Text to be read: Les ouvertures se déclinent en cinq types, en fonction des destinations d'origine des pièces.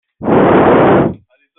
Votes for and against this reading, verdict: 0, 2, rejected